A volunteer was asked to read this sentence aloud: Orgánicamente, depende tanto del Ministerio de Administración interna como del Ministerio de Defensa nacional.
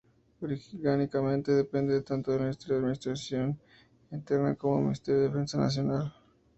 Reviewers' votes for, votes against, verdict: 0, 2, rejected